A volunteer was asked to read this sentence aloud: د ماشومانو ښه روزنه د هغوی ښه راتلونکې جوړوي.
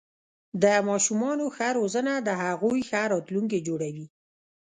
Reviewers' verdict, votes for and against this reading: rejected, 0, 2